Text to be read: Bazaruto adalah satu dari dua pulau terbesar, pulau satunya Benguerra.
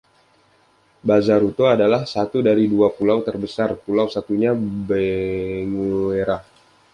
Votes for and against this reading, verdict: 0, 2, rejected